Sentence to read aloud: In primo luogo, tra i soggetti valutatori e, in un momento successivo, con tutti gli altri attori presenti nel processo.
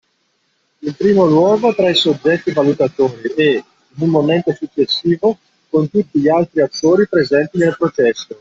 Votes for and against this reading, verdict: 1, 2, rejected